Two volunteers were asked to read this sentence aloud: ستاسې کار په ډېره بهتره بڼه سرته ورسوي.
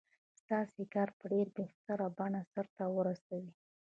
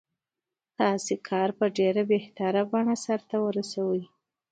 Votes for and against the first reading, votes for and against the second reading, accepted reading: 1, 3, 2, 0, second